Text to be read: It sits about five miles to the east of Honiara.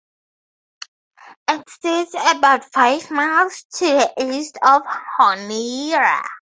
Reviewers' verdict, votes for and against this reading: rejected, 0, 2